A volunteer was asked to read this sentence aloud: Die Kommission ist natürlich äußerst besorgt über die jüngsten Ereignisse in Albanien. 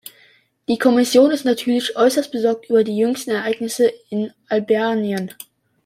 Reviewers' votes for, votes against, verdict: 2, 0, accepted